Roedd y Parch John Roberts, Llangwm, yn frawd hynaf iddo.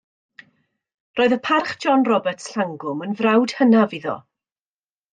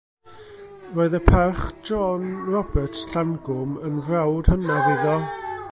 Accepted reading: first